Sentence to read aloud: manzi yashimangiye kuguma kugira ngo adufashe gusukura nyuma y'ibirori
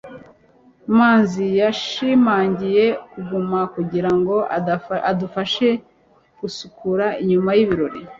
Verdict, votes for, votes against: rejected, 0, 3